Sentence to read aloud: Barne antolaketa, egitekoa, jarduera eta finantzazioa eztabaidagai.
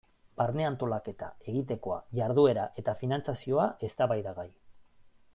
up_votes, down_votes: 2, 0